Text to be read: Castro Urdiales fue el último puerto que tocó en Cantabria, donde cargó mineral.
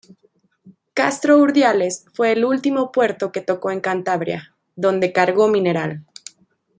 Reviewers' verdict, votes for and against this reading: accepted, 2, 0